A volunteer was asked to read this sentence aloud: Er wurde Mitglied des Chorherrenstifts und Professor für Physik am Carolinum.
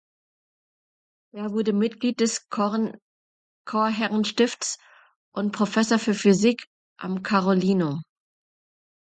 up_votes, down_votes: 0, 2